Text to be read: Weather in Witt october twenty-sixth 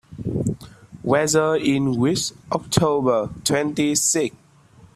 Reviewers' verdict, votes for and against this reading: rejected, 1, 2